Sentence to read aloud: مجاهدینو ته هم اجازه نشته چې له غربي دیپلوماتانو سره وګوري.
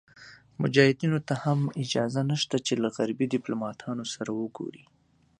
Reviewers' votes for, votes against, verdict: 2, 0, accepted